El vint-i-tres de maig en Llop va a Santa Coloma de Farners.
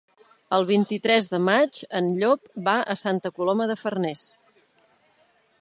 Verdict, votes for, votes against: accepted, 5, 0